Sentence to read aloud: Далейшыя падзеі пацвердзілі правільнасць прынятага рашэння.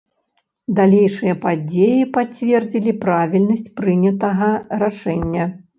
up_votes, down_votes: 1, 2